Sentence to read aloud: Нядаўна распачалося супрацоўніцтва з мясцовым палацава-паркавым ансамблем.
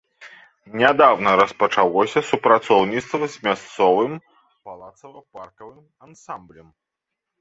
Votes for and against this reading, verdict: 1, 2, rejected